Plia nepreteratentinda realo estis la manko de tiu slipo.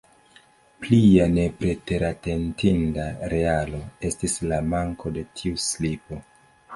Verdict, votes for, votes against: rejected, 1, 2